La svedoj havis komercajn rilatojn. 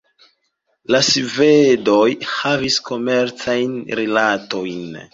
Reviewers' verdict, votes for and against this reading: rejected, 0, 2